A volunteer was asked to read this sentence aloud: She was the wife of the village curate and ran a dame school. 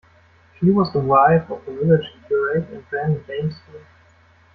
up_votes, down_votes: 0, 2